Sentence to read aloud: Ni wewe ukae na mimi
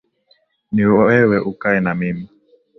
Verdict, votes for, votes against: accepted, 2, 0